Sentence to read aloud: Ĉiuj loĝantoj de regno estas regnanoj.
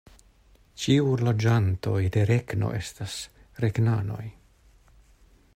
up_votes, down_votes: 1, 2